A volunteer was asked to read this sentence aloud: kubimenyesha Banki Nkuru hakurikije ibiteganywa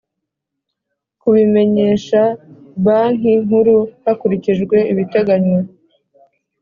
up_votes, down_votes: 3, 0